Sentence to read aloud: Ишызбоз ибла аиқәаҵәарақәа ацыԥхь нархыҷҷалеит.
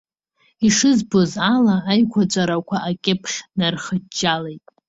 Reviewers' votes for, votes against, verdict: 0, 2, rejected